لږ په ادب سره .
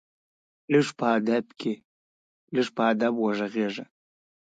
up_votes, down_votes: 1, 2